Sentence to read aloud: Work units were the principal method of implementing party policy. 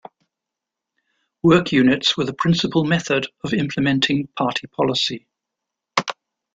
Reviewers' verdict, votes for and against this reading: accepted, 2, 0